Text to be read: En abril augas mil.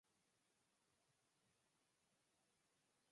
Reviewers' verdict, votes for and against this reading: rejected, 0, 4